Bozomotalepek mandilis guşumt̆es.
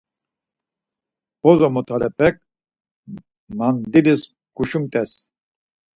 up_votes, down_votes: 4, 0